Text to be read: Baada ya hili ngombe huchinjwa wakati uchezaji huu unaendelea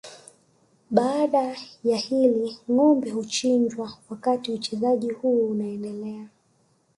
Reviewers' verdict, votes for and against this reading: rejected, 1, 2